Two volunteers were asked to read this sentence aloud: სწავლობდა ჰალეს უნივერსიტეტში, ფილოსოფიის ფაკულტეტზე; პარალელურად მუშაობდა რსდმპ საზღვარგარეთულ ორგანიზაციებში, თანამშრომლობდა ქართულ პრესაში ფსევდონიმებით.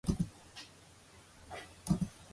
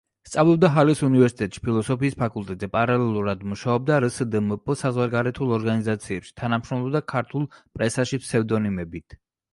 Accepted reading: second